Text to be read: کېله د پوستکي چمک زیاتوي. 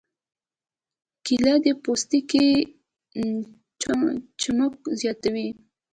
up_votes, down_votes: 2, 0